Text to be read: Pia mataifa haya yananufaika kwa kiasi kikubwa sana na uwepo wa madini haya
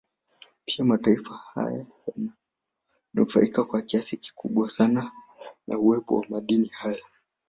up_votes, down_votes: 0, 2